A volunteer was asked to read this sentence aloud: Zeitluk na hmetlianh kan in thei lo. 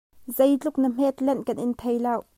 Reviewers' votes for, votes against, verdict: 1, 2, rejected